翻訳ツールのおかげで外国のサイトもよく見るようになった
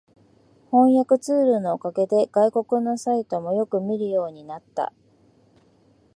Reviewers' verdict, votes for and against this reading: accepted, 2, 0